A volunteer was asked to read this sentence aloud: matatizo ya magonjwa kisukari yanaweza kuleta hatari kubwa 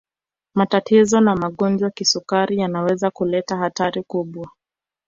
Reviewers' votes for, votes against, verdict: 1, 2, rejected